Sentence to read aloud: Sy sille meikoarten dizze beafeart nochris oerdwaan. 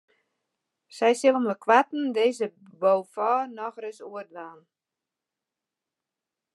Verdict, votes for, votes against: rejected, 0, 2